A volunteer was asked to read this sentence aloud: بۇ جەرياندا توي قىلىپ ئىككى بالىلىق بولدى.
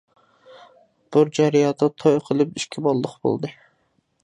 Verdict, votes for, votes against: rejected, 0, 2